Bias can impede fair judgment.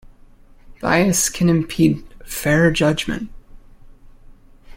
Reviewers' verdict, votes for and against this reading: accepted, 2, 0